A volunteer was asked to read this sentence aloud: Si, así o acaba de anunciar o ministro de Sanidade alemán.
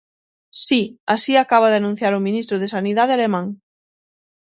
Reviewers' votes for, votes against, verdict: 3, 6, rejected